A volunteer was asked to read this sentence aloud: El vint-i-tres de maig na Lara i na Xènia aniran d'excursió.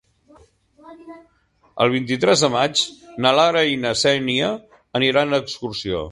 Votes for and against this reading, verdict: 2, 0, accepted